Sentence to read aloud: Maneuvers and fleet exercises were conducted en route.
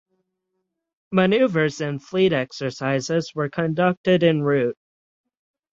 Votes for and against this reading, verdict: 6, 3, accepted